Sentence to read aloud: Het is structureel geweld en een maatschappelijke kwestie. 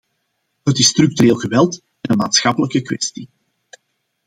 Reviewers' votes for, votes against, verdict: 2, 0, accepted